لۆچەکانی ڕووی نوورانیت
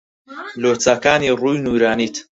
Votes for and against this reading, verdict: 2, 4, rejected